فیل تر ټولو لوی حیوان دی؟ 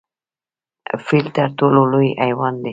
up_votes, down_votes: 1, 2